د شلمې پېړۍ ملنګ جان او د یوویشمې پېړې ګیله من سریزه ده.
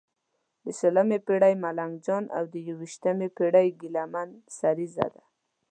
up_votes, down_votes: 1, 2